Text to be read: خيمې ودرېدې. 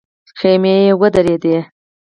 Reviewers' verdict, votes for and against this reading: accepted, 4, 2